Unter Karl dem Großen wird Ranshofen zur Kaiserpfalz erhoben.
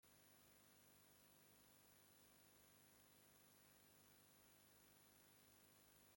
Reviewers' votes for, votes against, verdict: 1, 2, rejected